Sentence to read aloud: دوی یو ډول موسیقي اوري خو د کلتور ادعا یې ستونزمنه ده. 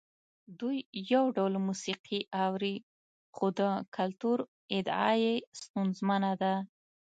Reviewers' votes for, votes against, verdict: 2, 1, accepted